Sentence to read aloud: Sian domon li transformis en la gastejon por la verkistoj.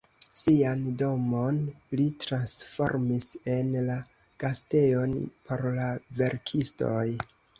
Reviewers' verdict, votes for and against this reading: accepted, 2, 0